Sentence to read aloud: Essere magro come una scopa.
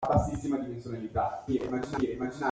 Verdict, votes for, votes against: rejected, 0, 2